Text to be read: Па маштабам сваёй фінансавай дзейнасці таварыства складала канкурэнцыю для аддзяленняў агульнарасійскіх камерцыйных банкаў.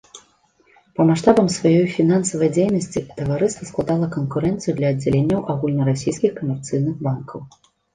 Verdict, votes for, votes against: accepted, 2, 0